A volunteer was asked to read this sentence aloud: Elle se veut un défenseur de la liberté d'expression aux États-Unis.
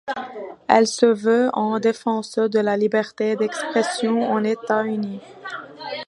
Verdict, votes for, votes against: rejected, 1, 2